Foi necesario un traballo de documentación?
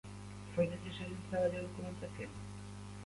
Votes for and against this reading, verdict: 0, 2, rejected